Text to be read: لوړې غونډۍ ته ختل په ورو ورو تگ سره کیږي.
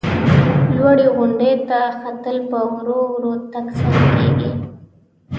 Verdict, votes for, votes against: rejected, 0, 2